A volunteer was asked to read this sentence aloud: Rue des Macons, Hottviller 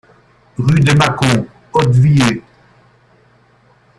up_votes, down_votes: 1, 2